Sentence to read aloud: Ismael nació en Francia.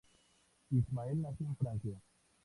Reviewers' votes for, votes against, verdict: 2, 0, accepted